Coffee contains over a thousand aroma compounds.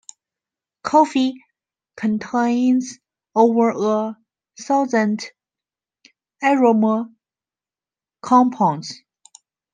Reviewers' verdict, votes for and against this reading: accepted, 2, 0